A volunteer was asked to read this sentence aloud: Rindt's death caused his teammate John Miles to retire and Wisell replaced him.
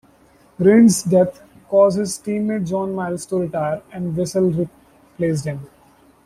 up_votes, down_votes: 2, 1